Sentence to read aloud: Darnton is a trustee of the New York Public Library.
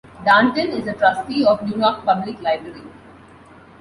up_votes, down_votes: 1, 2